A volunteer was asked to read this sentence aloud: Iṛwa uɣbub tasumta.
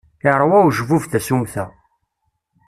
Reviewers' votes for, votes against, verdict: 1, 2, rejected